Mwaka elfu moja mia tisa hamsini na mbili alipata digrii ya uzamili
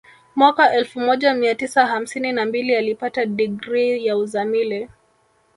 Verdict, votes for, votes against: rejected, 0, 2